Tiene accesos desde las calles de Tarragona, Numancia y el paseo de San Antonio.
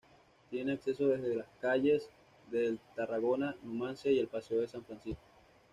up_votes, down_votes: 2, 0